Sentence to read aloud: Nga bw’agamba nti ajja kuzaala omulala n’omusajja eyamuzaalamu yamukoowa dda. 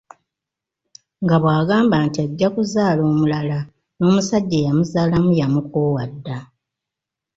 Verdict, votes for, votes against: accepted, 2, 0